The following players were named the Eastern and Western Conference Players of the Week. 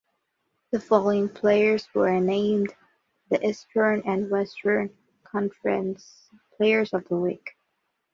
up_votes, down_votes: 2, 0